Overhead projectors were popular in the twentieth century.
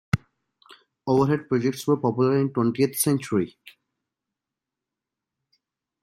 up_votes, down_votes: 0, 2